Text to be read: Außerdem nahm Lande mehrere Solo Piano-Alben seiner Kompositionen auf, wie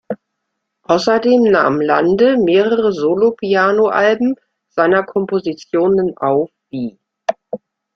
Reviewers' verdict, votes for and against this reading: accepted, 2, 1